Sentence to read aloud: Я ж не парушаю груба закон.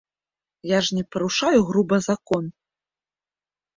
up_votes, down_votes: 2, 0